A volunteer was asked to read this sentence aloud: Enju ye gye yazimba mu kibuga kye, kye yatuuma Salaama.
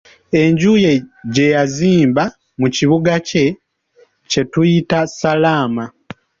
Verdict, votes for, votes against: rejected, 1, 2